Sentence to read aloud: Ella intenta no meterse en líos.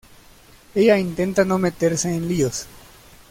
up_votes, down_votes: 2, 0